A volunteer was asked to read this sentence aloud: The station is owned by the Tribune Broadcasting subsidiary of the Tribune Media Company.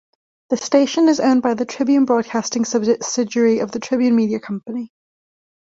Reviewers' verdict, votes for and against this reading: accepted, 2, 0